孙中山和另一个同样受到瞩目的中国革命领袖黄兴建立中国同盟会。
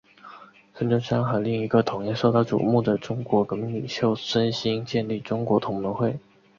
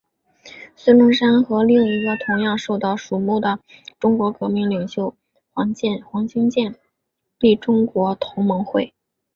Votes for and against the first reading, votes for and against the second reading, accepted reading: 3, 0, 0, 2, first